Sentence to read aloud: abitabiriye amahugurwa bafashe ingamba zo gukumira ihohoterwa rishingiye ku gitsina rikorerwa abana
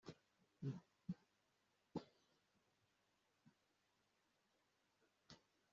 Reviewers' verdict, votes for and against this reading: rejected, 0, 2